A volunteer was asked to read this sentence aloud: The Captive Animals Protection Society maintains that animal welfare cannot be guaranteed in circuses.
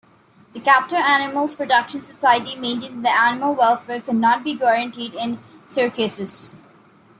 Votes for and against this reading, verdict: 2, 1, accepted